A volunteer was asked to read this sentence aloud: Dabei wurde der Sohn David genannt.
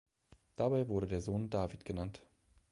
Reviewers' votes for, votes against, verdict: 2, 0, accepted